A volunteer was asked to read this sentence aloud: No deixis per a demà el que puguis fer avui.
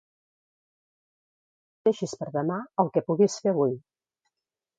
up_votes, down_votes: 0, 2